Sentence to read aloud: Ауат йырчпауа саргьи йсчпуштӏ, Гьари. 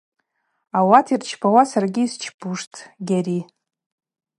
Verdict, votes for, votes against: accepted, 4, 0